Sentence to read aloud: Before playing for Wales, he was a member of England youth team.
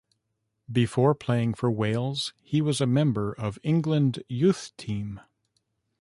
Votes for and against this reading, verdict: 3, 1, accepted